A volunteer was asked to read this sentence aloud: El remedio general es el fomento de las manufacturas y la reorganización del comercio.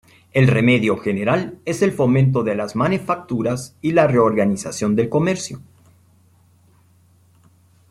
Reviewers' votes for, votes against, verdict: 1, 2, rejected